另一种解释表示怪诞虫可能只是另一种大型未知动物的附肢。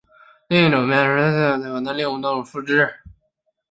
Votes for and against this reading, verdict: 0, 2, rejected